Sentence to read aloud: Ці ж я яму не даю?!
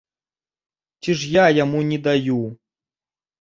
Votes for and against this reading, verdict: 2, 0, accepted